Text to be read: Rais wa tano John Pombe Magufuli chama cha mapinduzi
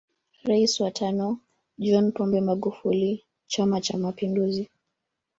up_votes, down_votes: 1, 2